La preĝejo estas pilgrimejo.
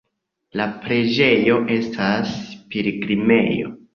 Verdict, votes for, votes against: accepted, 2, 0